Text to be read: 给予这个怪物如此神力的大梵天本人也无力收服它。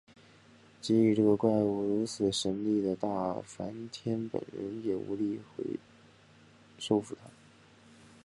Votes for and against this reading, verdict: 2, 0, accepted